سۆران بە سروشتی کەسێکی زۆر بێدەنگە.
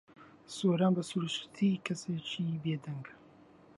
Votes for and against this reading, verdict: 2, 1, accepted